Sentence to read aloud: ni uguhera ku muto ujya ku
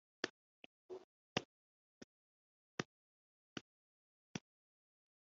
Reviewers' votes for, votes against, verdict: 1, 3, rejected